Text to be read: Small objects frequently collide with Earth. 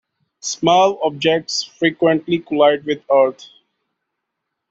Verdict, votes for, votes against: accepted, 2, 0